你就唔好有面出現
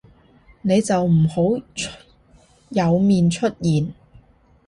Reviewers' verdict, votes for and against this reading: rejected, 0, 2